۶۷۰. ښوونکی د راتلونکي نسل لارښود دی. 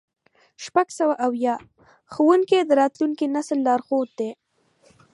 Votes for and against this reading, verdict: 0, 2, rejected